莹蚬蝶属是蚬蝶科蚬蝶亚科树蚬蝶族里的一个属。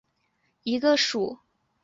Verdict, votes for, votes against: rejected, 1, 2